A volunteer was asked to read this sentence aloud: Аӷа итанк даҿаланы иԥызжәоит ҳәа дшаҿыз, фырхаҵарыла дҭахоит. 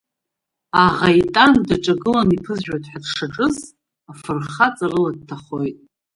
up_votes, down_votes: 1, 2